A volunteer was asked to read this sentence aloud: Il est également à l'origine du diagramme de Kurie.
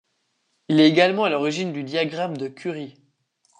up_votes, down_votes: 2, 0